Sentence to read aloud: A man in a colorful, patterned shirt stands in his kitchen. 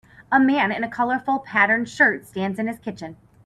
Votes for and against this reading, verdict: 4, 0, accepted